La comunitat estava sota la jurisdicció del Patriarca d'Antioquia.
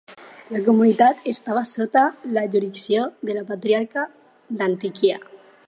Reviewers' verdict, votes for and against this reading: rejected, 0, 4